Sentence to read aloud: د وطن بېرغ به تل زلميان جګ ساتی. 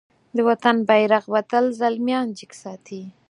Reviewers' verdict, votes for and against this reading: accepted, 4, 0